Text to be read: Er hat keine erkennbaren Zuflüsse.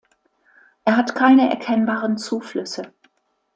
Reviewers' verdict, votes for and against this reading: accepted, 2, 0